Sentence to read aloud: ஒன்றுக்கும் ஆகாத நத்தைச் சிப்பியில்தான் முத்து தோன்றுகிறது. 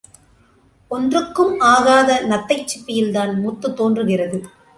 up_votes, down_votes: 2, 0